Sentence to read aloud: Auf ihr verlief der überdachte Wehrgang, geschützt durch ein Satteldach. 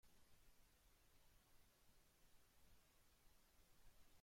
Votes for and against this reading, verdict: 0, 2, rejected